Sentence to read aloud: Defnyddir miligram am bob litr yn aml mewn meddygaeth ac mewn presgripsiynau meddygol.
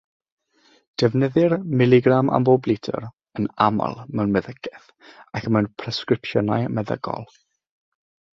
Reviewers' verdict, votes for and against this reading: accepted, 6, 0